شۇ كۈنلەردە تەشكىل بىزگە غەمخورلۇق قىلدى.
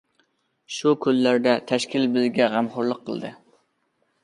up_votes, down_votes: 2, 1